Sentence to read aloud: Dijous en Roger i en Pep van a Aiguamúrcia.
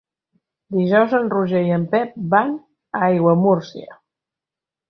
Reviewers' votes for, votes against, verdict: 5, 0, accepted